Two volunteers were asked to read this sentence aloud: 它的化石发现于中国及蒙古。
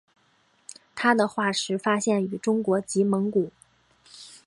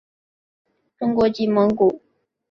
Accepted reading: first